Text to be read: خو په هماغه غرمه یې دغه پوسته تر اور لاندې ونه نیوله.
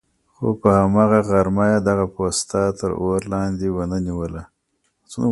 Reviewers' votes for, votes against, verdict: 1, 2, rejected